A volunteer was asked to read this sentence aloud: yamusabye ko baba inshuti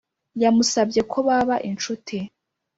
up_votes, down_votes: 2, 0